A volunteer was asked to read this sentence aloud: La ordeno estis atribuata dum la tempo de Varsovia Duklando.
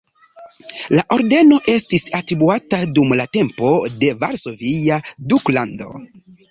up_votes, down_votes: 1, 2